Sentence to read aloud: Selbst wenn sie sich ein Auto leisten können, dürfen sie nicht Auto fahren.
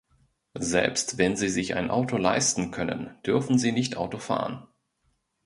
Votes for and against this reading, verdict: 2, 0, accepted